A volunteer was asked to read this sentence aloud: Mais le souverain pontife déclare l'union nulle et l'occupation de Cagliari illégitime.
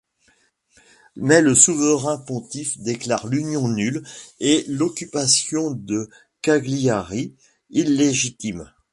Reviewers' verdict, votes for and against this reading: accepted, 2, 0